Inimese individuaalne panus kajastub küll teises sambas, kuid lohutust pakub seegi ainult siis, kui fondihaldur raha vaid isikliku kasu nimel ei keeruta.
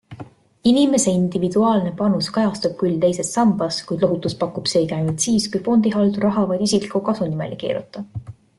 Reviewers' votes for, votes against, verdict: 3, 0, accepted